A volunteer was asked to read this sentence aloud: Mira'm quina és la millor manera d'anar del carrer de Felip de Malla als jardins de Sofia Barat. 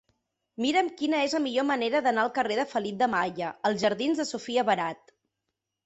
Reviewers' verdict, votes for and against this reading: rejected, 1, 2